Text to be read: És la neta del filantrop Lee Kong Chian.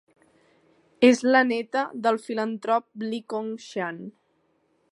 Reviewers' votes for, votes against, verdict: 2, 0, accepted